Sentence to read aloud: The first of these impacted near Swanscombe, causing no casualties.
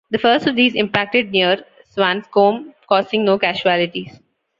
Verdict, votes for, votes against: rejected, 1, 2